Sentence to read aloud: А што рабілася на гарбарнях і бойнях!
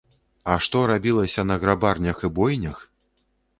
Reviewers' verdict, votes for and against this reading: rejected, 0, 2